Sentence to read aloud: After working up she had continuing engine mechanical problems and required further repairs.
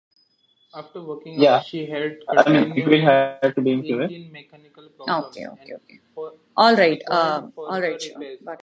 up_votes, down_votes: 1, 2